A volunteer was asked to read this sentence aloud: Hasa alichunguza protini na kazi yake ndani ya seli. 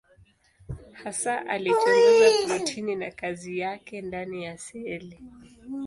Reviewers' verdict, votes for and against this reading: accepted, 2, 0